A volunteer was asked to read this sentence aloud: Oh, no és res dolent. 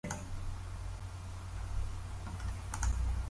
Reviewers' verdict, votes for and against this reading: rejected, 0, 2